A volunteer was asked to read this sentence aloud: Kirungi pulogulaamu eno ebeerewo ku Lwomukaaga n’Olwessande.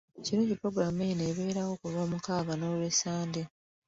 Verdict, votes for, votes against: rejected, 1, 2